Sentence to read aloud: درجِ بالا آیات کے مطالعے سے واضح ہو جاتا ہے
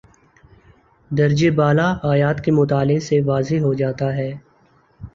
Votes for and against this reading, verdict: 1, 2, rejected